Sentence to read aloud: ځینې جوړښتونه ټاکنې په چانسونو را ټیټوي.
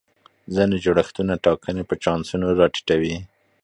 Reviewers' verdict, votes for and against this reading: accepted, 2, 0